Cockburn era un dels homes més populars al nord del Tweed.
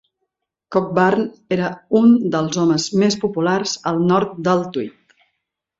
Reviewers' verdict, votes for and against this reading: accepted, 3, 0